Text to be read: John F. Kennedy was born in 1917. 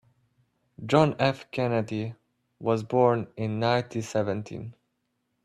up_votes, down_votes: 0, 2